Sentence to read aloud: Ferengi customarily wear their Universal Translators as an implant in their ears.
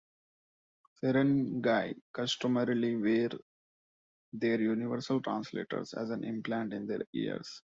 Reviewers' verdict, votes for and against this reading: accepted, 2, 1